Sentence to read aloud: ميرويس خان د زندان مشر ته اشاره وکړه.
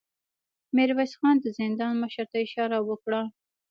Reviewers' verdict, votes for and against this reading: rejected, 0, 2